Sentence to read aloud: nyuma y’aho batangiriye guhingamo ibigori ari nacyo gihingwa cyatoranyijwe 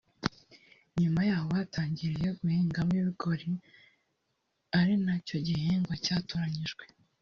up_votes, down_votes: 2, 0